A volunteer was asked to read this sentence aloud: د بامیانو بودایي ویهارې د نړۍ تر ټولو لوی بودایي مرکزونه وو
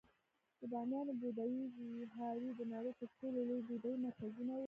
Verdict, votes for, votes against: rejected, 1, 2